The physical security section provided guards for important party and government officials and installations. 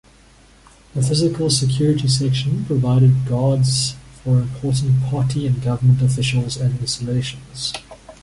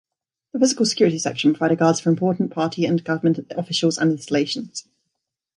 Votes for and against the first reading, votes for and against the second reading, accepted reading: 2, 0, 0, 2, first